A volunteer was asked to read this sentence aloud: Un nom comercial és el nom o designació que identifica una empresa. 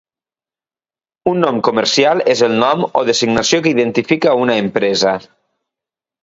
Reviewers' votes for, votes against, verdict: 2, 0, accepted